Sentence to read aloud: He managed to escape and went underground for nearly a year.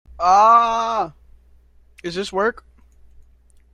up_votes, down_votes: 0, 2